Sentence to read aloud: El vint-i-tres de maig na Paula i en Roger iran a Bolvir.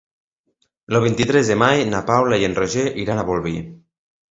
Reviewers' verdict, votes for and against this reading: accepted, 2, 1